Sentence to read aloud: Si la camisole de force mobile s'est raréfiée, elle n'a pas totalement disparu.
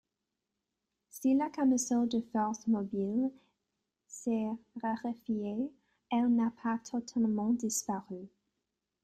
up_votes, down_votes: 1, 2